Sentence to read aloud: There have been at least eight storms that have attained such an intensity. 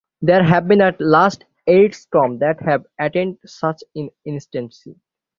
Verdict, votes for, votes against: rejected, 0, 6